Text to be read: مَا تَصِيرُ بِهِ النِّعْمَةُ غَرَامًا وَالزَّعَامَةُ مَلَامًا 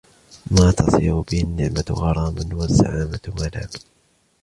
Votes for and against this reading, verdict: 2, 0, accepted